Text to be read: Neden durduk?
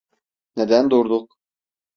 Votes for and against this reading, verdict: 3, 0, accepted